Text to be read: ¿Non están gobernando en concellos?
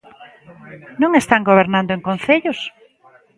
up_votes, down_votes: 2, 0